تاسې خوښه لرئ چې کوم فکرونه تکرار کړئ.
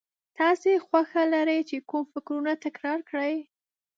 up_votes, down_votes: 4, 1